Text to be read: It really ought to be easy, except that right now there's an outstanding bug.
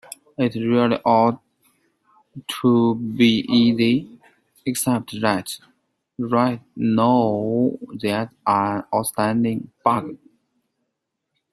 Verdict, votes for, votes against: rejected, 0, 2